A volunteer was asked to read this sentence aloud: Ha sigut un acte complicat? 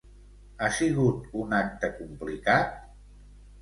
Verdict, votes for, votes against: accepted, 2, 0